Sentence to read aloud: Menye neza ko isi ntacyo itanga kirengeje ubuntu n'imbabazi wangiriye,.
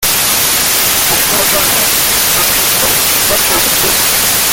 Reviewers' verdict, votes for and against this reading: rejected, 0, 2